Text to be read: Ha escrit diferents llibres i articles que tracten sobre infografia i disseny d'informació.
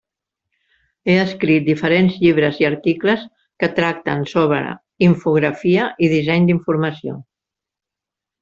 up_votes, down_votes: 1, 2